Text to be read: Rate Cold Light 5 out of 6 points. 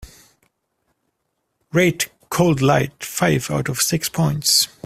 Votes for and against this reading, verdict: 0, 2, rejected